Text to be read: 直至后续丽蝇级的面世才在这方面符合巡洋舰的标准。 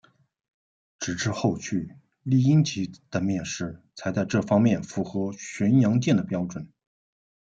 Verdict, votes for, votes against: accepted, 2, 0